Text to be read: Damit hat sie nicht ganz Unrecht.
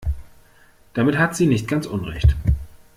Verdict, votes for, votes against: accepted, 2, 0